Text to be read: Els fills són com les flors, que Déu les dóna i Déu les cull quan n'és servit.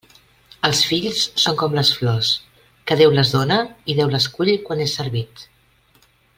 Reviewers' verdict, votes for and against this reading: rejected, 1, 2